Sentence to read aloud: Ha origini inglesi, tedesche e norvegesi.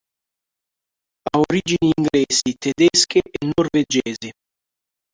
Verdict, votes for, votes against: rejected, 0, 2